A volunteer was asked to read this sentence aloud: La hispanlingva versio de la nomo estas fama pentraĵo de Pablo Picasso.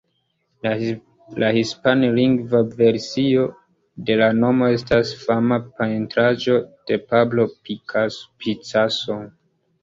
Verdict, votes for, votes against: rejected, 1, 2